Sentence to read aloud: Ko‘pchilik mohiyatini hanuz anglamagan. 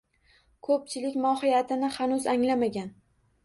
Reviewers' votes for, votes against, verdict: 2, 0, accepted